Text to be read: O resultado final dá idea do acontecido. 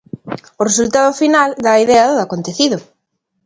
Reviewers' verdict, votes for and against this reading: accepted, 3, 0